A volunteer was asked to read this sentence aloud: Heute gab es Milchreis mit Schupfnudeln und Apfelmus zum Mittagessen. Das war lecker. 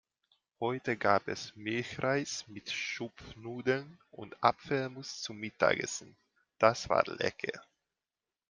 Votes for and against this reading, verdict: 2, 0, accepted